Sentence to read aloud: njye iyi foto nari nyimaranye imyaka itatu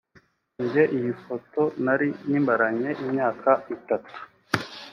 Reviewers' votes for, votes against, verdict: 2, 0, accepted